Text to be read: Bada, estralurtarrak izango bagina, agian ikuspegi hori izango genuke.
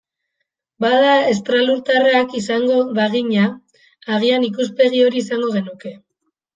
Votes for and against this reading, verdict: 2, 0, accepted